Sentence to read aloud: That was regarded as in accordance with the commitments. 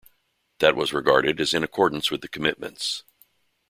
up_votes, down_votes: 2, 0